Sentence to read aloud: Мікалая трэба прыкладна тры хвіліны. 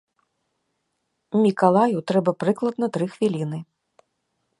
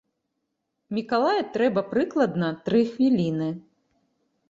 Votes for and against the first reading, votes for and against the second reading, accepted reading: 0, 2, 2, 0, second